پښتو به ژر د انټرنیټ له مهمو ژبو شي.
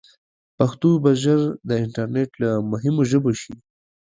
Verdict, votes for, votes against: accepted, 2, 0